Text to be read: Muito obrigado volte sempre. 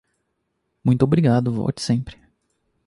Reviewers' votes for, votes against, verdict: 2, 0, accepted